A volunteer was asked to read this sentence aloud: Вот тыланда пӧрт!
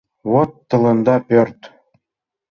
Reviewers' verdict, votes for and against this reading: accepted, 2, 0